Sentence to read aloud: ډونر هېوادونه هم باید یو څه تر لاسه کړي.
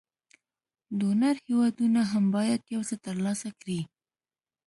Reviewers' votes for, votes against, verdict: 2, 0, accepted